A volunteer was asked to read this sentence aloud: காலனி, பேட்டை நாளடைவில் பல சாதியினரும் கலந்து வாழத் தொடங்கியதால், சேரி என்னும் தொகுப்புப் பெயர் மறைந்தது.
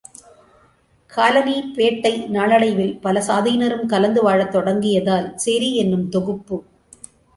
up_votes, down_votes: 0, 2